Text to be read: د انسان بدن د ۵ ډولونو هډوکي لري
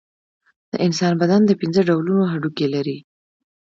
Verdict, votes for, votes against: rejected, 0, 2